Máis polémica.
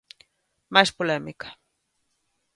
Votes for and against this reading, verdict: 2, 0, accepted